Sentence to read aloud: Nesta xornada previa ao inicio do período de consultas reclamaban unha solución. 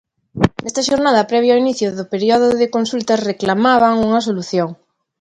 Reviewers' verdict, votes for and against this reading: accepted, 2, 1